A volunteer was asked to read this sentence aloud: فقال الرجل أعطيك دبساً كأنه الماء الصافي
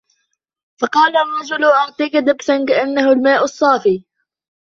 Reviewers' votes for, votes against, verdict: 2, 1, accepted